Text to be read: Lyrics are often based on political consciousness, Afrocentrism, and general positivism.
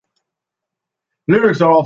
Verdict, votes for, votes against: rejected, 0, 2